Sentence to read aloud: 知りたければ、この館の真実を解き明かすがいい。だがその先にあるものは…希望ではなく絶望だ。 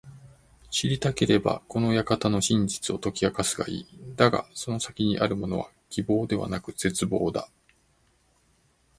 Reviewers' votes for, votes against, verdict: 2, 0, accepted